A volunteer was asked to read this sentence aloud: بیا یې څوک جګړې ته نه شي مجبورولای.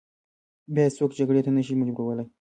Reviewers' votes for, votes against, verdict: 1, 2, rejected